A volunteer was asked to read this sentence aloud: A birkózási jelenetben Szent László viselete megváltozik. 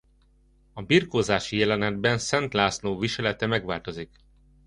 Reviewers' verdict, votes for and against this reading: accepted, 2, 0